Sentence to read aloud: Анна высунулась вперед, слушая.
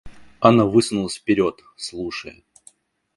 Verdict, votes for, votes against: accepted, 2, 1